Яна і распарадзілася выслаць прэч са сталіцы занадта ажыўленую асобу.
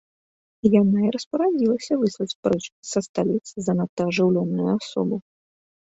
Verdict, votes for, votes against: rejected, 0, 2